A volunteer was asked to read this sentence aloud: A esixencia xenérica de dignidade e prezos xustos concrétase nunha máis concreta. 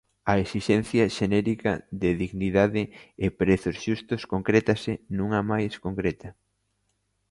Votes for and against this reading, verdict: 2, 0, accepted